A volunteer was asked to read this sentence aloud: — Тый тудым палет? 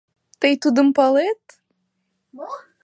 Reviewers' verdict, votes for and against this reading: rejected, 1, 2